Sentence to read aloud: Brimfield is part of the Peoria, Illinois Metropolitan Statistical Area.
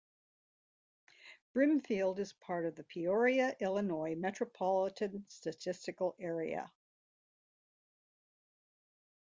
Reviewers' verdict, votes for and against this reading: accepted, 2, 0